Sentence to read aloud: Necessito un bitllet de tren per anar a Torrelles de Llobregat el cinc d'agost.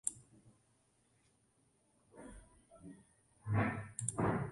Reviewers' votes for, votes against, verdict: 0, 2, rejected